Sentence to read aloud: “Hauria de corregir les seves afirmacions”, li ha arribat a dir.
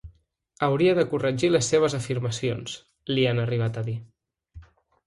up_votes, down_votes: 1, 2